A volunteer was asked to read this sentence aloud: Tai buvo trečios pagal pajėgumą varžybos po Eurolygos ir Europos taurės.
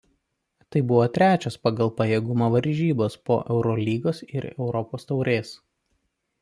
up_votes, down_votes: 2, 0